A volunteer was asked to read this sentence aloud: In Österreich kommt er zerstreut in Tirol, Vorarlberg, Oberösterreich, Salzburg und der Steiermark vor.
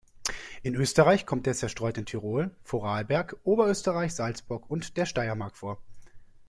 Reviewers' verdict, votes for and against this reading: accepted, 2, 0